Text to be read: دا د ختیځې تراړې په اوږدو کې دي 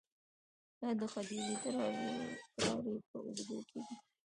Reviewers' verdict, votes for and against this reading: accepted, 2, 1